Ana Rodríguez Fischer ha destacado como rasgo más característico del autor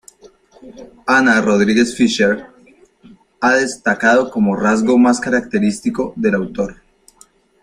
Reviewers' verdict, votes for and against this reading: rejected, 1, 2